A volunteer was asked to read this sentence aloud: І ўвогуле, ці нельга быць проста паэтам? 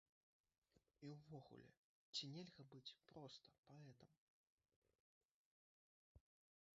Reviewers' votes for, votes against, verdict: 1, 2, rejected